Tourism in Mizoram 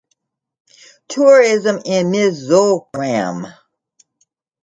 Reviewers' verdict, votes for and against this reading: accepted, 3, 1